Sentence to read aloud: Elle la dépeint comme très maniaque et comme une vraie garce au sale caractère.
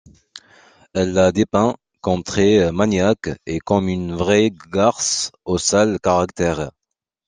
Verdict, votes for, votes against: accepted, 2, 0